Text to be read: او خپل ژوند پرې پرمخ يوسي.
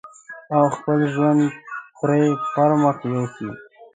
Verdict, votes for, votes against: rejected, 1, 2